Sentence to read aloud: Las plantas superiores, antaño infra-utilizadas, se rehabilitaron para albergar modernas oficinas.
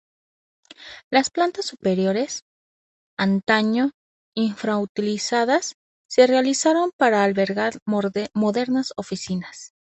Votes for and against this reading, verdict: 2, 4, rejected